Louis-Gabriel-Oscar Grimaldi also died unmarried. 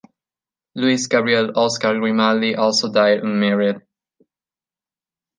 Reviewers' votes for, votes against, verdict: 2, 0, accepted